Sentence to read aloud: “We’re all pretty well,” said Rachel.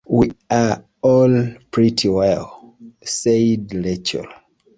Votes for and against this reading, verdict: 1, 2, rejected